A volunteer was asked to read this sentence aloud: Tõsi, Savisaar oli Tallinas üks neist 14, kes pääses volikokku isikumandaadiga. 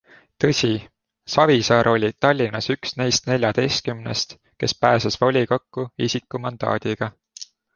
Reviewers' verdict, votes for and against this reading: rejected, 0, 2